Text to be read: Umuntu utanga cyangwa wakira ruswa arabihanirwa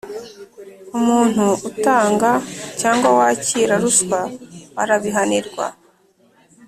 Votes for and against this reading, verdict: 3, 0, accepted